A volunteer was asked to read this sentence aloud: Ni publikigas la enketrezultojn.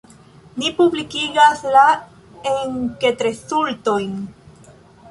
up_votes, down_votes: 1, 2